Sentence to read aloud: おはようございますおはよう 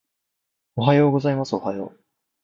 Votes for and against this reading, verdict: 1, 2, rejected